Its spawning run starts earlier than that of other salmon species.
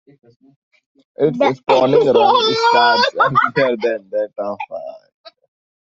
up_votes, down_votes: 0, 2